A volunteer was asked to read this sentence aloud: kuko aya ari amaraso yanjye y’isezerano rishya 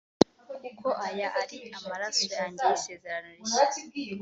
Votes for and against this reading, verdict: 2, 0, accepted